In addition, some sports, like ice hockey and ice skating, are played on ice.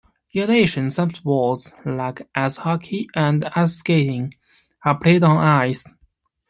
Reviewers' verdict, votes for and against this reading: accepted, 2, 1